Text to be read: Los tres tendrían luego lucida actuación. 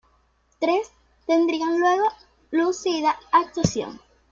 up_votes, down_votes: 1, 2